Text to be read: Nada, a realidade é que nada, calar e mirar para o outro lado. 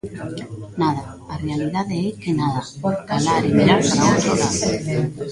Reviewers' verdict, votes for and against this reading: rejected, 1, 2